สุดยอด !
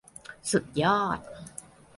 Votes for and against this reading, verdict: 2, 0, accepted